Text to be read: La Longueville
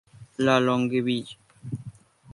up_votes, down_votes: 4, 4